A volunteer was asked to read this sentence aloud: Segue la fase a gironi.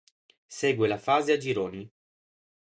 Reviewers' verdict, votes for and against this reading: rejected, 3, 3